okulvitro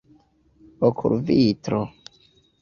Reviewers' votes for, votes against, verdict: 2, 0, accepted